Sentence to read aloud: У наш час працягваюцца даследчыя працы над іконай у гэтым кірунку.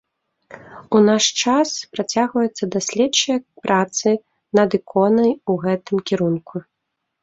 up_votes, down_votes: 2, 0